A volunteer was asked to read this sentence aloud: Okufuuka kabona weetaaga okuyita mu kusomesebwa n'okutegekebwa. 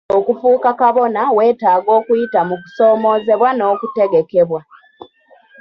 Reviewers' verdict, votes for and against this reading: rejected, 1, 2